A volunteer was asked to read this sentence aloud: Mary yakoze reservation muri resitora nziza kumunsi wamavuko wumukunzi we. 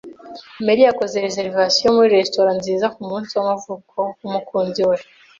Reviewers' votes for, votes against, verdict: 2, 0, accepted